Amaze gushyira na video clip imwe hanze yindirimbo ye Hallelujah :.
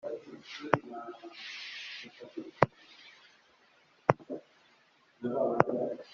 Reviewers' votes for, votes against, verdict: 0, 4, rejected